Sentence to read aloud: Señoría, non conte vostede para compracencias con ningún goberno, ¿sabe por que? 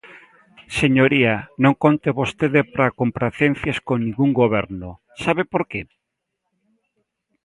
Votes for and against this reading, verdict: 2, 0, accepted